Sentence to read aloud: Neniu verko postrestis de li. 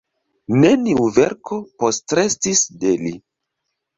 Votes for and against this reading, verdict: 1, 2, rejected